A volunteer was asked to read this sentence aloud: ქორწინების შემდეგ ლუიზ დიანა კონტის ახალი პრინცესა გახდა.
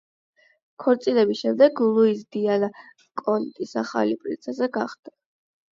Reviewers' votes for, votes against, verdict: 8, 0, accepted